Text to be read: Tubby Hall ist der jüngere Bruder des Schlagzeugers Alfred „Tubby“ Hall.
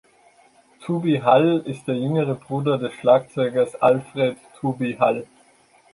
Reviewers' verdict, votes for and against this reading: accepted, 2, 0